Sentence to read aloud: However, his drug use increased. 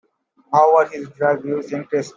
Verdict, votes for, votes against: rejected, 0, 2